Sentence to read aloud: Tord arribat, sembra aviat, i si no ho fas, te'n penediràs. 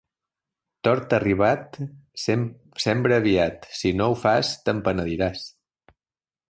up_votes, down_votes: 1, 2